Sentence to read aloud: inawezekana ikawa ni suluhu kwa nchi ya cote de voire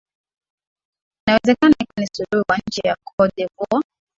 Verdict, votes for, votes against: rejected, 1, 2